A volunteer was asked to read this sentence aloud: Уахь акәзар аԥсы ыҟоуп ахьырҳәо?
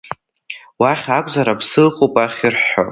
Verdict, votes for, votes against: accepted, 2, 1